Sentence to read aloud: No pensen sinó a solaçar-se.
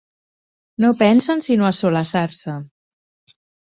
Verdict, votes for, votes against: accepted, 2, 0